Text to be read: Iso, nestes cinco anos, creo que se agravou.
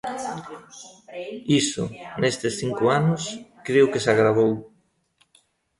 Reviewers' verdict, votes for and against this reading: rejected, 0, 2